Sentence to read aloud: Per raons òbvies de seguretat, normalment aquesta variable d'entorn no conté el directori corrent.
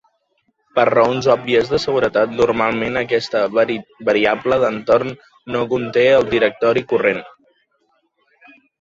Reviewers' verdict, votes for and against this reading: rejected, 0, 2